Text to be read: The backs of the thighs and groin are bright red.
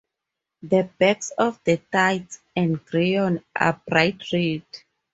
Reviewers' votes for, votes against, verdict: 0, 2, rejected